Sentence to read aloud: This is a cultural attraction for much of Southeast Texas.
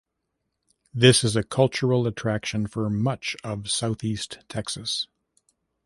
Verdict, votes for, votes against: accepted, 2, 0